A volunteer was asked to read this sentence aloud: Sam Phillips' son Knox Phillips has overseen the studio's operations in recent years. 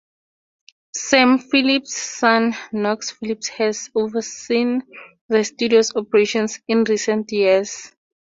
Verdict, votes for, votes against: accepted, 2, 0